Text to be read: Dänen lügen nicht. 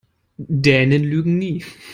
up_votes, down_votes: 0, 3